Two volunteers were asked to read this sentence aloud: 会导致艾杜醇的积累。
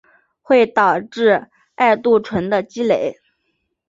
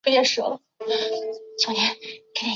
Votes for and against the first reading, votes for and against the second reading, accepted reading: 2, 0, 0, 3, first